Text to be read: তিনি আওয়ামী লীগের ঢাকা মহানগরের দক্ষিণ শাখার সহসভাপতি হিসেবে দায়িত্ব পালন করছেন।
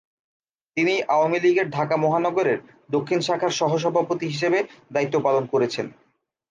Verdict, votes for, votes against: rejected, 1, 2